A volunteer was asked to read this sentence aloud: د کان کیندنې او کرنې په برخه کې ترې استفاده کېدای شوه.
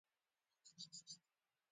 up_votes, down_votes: 0, 2